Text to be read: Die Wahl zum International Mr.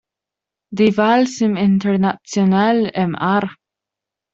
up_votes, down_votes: 0, 2